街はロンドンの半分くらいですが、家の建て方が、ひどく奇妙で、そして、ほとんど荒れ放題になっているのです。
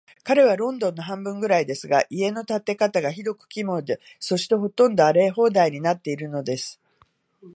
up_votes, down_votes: 0, 2